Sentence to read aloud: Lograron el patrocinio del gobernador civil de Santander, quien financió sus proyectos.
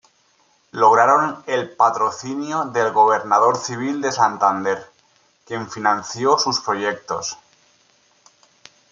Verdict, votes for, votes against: accepted, 2, 0